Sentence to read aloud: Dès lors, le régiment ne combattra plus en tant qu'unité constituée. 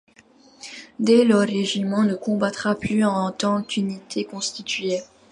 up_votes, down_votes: 1, 2